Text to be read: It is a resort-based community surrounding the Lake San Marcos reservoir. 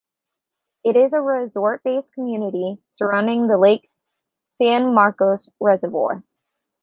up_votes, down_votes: 3, 0